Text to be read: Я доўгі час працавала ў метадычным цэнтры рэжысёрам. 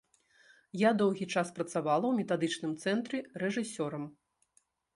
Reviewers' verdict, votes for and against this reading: accepted, 2, 0